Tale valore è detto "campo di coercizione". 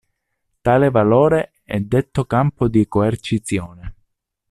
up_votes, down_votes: 2, 1